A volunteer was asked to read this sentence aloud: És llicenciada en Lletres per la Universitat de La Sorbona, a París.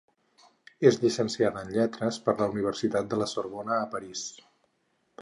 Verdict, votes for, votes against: accepted, 4, 0